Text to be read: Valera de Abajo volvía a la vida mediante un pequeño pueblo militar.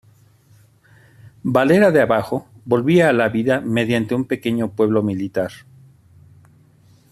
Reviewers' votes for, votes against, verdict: 2, 0, accepted